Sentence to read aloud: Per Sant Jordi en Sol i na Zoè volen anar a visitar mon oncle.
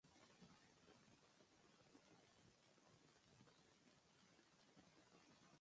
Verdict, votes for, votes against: rejected, 0, 2